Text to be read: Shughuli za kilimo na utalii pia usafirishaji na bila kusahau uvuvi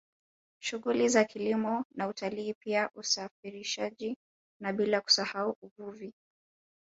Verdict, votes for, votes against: rejected, 1, 2